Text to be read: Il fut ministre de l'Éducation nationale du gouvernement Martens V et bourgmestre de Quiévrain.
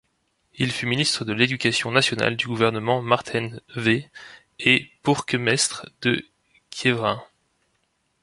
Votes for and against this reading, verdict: 1, 2, rejected